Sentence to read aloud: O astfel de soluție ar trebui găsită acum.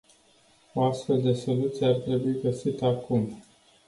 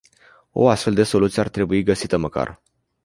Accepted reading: first